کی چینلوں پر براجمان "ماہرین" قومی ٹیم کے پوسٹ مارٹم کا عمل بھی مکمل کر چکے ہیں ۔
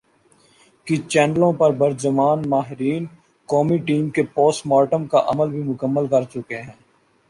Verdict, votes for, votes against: accepted, 2, 1